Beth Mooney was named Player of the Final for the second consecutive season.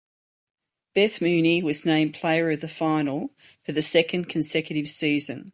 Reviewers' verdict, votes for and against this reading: accepted, 2, 0